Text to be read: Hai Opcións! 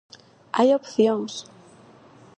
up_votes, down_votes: 4, 0